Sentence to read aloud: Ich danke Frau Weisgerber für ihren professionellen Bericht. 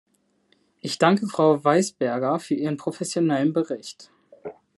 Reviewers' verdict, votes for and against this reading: rejected, 1, 2